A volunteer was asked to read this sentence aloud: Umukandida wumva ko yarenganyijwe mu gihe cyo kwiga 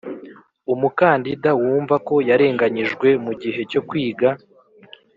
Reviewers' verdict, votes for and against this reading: accepted, 2, 0